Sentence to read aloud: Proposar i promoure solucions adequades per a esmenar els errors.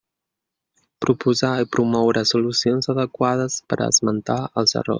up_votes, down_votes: 0, 2